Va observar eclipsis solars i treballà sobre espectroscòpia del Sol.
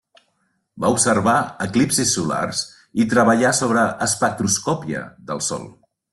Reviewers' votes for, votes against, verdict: 2, 0, accepted